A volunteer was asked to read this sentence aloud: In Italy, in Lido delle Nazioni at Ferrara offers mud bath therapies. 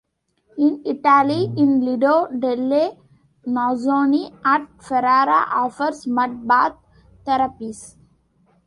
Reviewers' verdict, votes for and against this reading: rejected, 1, 2